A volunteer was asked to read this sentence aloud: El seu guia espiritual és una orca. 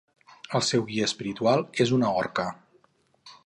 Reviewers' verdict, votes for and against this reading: accepted, 4, 0